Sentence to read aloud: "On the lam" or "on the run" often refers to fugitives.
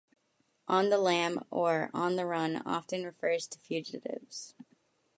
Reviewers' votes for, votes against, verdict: 2, 0, accepted